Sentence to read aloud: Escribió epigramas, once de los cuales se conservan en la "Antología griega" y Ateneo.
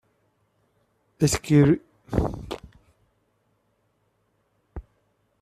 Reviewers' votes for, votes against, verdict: 0, 2, rejected